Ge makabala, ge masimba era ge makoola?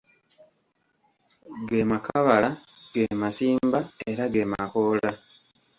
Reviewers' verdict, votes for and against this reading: rejected, 0, 2